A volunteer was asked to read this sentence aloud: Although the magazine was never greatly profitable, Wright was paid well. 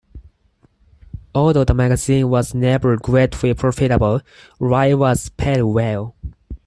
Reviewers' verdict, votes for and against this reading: accepted, 4, 2